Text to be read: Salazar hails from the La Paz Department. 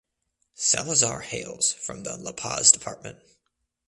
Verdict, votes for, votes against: accepted, 2, 0